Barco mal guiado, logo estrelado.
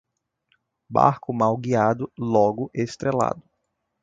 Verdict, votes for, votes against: accepted, 2, 0